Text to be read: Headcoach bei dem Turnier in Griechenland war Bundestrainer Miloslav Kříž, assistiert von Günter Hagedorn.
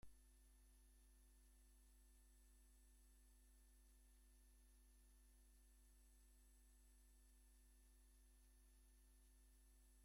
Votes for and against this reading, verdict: 0, 2, rejected